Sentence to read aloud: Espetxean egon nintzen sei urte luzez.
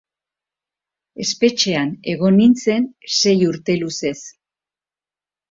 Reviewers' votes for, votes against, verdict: 2, 0, accepted